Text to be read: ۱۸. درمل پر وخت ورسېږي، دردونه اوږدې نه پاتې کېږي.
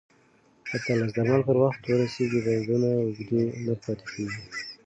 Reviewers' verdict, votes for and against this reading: rejected, 0, 2